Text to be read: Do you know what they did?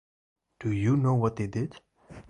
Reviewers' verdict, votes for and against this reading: accepted, 2, 0